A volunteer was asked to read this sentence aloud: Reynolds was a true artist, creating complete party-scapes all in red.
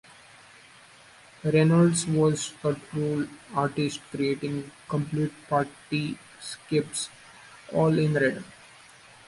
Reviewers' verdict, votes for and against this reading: rejected, 0, 2